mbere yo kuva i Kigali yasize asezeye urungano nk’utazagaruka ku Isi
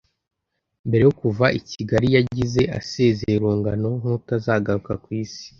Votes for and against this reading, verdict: 0, 2, rejected